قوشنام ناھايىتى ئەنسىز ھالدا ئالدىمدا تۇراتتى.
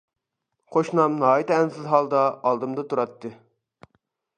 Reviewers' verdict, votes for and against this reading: accepted, 2, 0